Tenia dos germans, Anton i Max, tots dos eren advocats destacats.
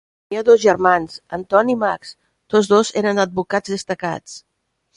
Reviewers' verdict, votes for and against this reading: rejected, 0, 2